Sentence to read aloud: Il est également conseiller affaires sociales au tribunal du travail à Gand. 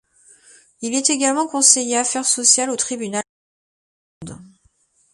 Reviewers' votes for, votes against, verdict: 0, 2, rejected